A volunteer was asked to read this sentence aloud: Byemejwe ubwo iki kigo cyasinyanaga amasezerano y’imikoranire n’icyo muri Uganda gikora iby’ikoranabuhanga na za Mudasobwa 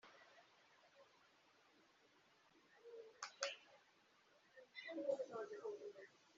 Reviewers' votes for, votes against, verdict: 0, 2, rejected